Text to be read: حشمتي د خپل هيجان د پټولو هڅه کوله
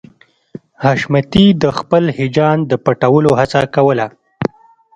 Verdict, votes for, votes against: rejected, 1, 2